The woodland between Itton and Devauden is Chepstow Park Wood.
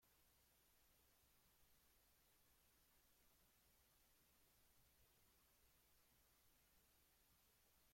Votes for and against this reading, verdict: 0, 2, rejected